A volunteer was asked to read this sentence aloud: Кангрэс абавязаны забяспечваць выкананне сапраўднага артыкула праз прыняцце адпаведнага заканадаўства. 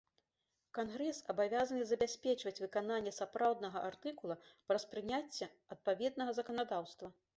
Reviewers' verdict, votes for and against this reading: accepted, 2, 0